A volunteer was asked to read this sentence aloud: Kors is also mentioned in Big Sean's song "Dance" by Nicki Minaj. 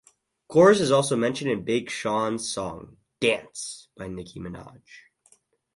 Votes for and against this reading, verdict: 2, 2, rejected